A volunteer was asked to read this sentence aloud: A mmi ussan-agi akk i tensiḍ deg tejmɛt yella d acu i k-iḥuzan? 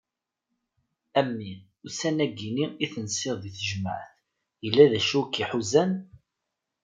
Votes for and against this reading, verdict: 1, 2, rejected